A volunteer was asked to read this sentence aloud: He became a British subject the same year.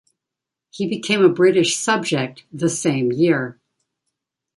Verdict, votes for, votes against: accepted, 2, 0